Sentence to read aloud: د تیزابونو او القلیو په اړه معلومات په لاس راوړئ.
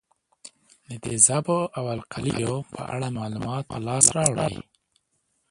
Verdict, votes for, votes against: rejected, 1, 2